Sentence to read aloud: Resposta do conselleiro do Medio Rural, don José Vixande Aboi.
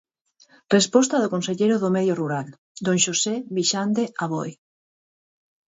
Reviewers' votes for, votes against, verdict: 0, 4, rejected